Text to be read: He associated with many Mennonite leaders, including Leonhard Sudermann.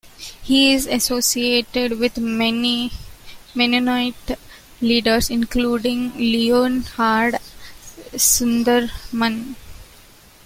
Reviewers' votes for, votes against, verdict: 0, 2, rejected